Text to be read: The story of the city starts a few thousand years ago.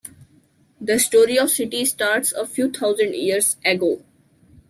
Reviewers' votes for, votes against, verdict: 0, 2, rejected